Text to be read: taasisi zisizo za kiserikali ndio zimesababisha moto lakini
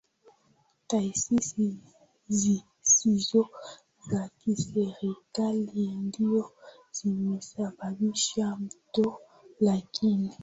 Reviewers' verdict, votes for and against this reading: rejected, 4, 6